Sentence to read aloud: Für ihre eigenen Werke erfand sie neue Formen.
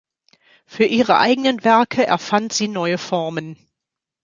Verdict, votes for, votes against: accepted, 2, 1